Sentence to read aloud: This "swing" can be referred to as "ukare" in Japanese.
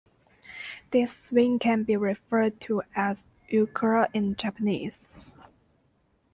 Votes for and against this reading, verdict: 1, 2, rejected